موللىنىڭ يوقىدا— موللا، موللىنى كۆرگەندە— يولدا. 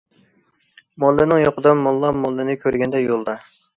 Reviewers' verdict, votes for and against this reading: accepted, 2, 0